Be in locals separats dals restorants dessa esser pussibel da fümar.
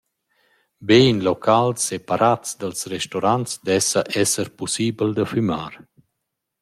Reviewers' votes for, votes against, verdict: 0, 2, rejected